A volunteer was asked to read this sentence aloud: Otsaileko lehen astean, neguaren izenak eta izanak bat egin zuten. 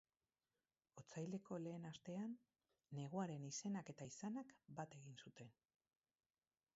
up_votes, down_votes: 2, 0